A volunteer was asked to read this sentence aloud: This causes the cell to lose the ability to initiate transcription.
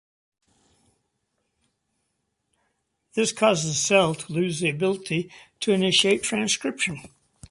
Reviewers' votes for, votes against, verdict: 2, 0, accepted